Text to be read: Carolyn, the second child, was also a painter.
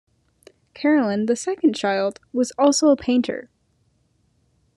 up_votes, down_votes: 2, 0